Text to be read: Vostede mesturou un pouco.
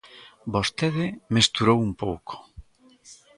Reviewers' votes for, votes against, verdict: 2, 0, accepted